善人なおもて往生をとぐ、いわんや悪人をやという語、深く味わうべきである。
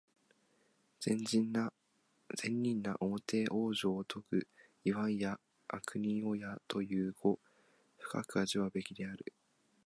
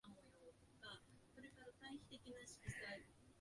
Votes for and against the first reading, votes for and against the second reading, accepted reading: 2, 0, 0, 2, first